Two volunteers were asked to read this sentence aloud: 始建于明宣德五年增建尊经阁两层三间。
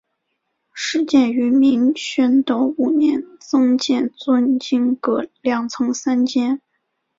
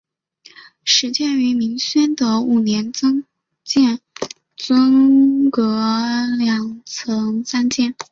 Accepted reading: first